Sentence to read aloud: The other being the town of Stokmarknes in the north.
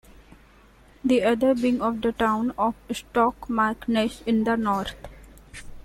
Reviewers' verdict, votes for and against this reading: rejected, 0, 2